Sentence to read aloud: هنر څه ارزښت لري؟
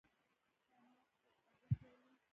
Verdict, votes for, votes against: rejected, 1, 2